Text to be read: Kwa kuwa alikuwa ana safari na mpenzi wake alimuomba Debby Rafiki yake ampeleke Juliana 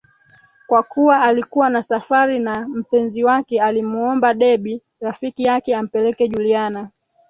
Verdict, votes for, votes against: rejected, 3, 4